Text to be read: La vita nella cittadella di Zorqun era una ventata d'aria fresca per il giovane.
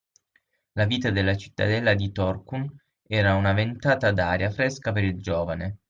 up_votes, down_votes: 3, 6